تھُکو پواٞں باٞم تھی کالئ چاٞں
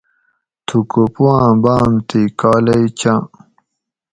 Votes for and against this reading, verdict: 4, 0, accepted